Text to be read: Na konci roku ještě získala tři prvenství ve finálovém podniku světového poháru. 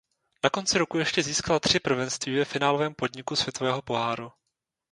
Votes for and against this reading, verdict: 2, 0, accepted